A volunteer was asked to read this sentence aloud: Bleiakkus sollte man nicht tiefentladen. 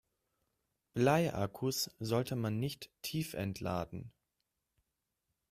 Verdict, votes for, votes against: accepted, 2, 1